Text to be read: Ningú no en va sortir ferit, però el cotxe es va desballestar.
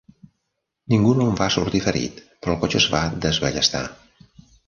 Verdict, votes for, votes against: accepted, 2, 0